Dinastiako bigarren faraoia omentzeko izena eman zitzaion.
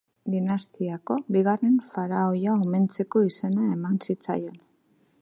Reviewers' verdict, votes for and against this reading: accepted, 2, 0